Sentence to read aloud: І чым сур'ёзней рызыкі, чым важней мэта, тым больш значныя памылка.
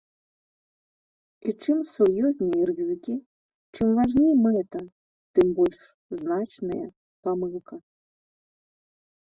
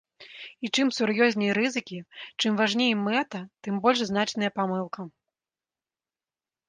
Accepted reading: second